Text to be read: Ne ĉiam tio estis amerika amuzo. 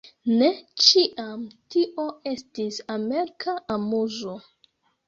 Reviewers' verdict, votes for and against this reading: accepted, 2, 1